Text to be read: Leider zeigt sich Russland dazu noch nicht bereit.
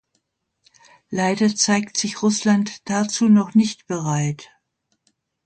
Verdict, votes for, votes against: accepted, 2, 0